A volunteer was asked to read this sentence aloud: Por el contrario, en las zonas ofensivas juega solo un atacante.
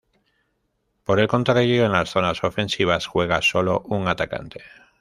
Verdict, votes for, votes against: accepted, 2, 1